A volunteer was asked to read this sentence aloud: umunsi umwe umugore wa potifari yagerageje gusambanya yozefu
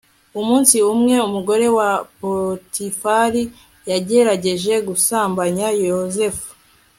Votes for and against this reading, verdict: 2, 0, accepted